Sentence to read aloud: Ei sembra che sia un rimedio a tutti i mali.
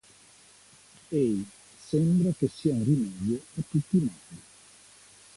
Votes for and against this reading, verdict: 2, 0, accepted